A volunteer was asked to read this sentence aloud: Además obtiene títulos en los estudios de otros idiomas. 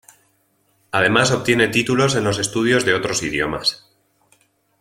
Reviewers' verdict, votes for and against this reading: accepted, 2, 0